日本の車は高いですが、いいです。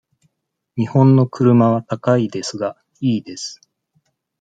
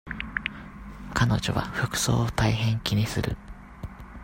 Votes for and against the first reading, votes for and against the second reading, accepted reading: 2, 0, 0, 2, first